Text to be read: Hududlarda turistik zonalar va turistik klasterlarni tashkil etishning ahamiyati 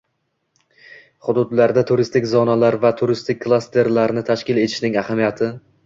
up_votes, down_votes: 1, 2